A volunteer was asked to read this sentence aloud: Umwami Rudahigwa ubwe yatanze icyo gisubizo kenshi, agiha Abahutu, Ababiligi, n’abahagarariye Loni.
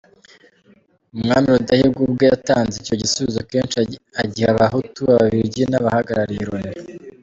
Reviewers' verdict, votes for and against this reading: rejected, 1, 2